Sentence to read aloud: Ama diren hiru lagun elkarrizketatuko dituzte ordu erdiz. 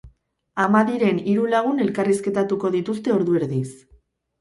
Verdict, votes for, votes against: accepted, 4, 0